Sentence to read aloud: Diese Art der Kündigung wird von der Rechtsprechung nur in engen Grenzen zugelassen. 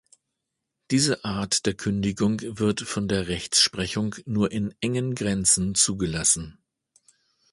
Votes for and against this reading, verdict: 0, 2, rejected